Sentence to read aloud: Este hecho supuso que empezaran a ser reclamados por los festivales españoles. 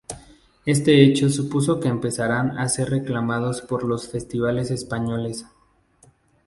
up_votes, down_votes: 2, 0